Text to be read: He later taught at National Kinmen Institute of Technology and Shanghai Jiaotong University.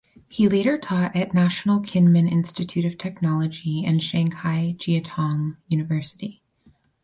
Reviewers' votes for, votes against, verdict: 2, 4, rejected